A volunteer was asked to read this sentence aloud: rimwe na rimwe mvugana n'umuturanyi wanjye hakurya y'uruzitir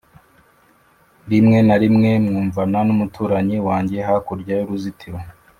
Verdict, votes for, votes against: rejected, 0, 2